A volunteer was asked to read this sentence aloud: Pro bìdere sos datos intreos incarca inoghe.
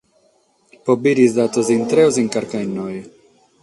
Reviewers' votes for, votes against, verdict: 6, 0, accepted